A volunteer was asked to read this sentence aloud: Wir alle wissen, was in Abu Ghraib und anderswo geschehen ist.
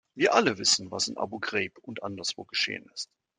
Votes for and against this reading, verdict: 2, 0, accepted